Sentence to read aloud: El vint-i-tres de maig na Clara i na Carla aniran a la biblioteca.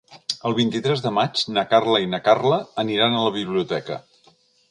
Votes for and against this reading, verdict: 1, 3, rejected